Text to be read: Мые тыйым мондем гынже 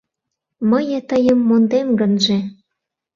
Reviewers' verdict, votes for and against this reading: accepted, 2, 0